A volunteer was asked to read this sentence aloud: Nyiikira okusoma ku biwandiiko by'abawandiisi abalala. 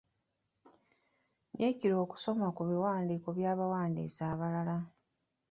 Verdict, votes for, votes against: rejected, 0, 2